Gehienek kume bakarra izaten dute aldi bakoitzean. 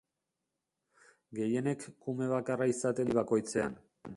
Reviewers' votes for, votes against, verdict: 0, 3, rejected